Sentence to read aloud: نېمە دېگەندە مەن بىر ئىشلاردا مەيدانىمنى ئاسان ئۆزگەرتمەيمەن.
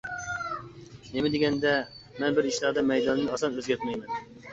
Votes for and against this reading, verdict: 0, 2, rejected